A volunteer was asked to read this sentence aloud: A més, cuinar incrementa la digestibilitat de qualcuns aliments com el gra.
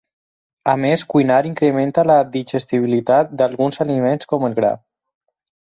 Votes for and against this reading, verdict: 2, 4, rejected